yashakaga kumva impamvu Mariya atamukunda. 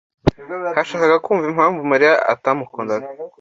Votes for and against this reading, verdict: 1, 2, rejected